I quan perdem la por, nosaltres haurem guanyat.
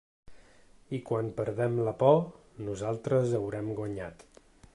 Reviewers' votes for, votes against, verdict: 3, 0, accepted